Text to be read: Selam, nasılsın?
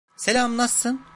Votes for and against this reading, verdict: 1, 2, rejected